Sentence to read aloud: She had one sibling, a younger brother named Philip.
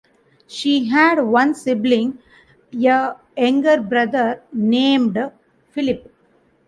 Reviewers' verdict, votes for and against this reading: accepted, 2, 0